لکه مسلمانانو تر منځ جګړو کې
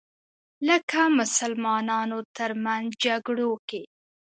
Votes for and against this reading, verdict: 2, 0, accepted